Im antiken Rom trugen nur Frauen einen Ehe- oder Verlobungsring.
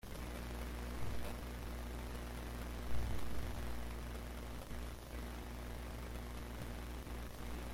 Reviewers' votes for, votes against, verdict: 0, 2, rejected